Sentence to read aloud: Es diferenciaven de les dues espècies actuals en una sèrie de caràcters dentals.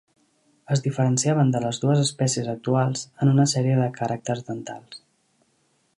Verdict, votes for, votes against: accepted, 2, 0